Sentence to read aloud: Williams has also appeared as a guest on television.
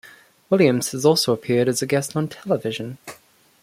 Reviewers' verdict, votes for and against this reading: accepted, 2, 0